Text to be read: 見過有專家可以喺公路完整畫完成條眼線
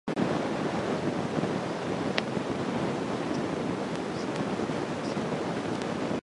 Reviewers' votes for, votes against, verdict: 0, 2, rejected